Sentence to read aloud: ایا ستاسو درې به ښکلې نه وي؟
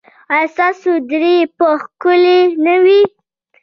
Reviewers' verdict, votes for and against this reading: rejected, 0, 2